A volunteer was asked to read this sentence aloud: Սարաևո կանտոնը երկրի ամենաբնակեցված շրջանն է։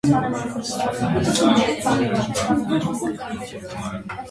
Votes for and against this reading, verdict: 0, 2, rejected